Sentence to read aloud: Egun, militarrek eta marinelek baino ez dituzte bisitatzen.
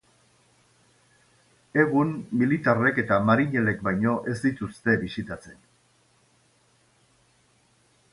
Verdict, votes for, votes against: accepted, 2, 0